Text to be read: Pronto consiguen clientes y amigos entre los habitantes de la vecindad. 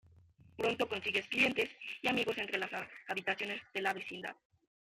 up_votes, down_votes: 0, 2